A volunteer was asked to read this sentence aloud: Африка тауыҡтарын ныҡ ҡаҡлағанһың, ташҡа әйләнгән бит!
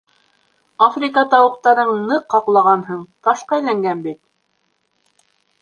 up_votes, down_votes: 3, 0